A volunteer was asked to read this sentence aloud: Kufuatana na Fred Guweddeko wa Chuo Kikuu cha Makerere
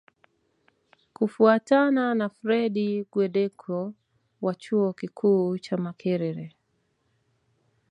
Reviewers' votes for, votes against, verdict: 2, 0, accepted